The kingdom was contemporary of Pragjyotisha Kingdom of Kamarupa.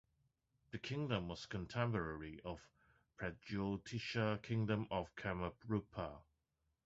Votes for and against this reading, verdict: 0, 2, rejected